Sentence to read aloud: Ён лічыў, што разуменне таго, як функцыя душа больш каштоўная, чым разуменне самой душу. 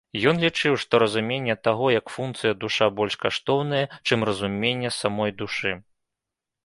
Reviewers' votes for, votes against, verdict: 1, 2, rejected